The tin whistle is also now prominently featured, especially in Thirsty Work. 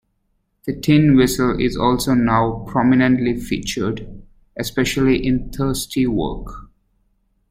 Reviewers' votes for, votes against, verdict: 2, 0, accepted